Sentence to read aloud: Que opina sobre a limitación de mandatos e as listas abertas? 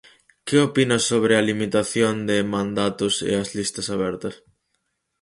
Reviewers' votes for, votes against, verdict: 4, 0, accepted